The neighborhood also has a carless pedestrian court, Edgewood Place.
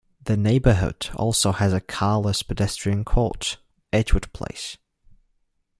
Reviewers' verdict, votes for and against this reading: accepted, 2, 0